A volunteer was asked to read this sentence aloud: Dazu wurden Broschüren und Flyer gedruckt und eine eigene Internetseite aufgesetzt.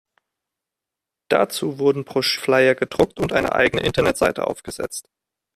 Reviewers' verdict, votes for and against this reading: rejected, 0, 2